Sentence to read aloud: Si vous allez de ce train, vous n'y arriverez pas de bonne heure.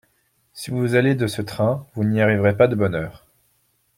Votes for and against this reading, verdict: 2, 0, accepted